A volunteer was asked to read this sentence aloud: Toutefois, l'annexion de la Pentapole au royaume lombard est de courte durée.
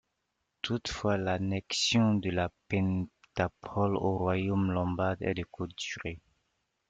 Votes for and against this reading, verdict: 0, 2, rejected